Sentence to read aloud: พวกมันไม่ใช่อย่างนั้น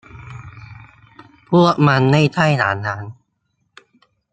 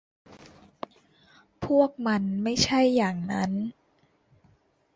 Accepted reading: second